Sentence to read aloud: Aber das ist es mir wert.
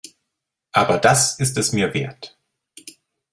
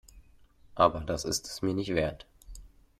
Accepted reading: first